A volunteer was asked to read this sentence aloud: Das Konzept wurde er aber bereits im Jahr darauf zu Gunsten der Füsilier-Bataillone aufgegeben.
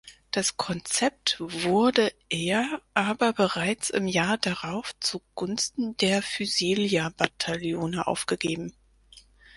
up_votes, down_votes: 2, 4